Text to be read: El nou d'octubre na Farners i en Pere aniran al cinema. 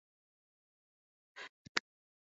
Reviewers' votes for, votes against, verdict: 0, 2, rejected